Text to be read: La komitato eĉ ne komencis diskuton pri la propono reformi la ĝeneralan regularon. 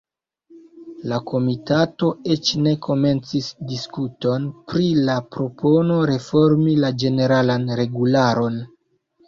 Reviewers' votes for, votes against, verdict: 2, 0, accepted